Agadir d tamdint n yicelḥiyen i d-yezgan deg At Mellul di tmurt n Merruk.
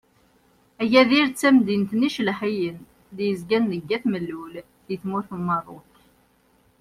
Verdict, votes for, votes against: accepted, 2, 0